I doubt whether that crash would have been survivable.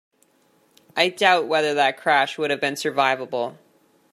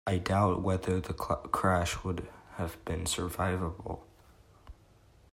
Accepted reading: first